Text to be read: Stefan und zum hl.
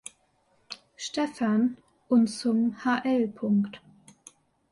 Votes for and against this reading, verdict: 2, 1, accepted